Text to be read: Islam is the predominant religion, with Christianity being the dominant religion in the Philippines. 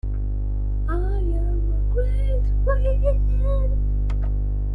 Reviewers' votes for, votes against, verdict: 0, 2, rejected